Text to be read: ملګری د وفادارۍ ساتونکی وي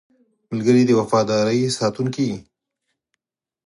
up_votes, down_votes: 4, 0